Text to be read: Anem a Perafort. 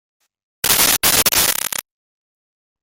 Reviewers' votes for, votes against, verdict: 0, 2, rejected